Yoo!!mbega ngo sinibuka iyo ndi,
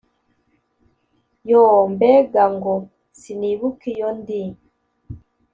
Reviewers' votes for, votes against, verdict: 2, 0, accepted